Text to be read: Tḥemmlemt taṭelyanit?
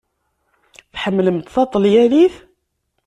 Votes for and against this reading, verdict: 2, 0, accepted